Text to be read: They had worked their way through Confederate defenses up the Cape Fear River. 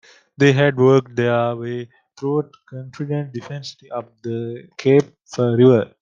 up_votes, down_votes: 1, 2